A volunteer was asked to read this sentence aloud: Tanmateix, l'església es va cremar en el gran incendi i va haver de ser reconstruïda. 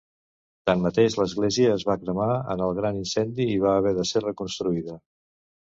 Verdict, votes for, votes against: accepted, 2, 0